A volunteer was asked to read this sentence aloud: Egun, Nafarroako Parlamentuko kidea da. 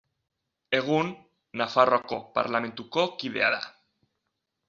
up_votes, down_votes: 2, 0